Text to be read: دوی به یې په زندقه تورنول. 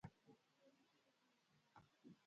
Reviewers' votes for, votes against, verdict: 0, 2, rejected